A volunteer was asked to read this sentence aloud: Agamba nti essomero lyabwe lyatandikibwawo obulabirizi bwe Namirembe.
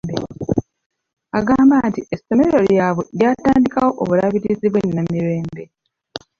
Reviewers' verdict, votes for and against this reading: rejected, 1, 2